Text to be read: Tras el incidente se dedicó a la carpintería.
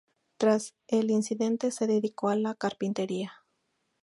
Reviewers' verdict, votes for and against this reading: accepted, 2, 0